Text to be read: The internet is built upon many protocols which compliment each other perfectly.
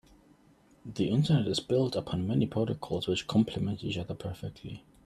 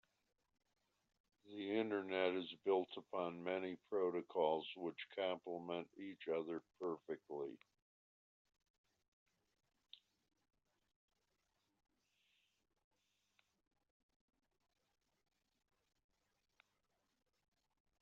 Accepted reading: first